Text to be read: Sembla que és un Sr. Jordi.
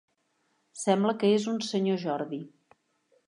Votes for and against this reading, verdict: 3, 0, accepted